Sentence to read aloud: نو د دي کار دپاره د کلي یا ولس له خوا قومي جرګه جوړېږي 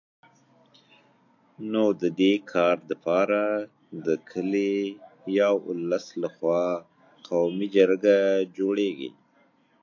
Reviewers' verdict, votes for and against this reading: rejected, 0, 2